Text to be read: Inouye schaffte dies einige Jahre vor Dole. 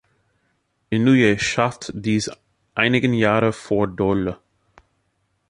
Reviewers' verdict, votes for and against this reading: rejected, 0, 2